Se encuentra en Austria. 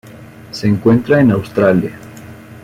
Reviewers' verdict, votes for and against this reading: rejected, 0, 2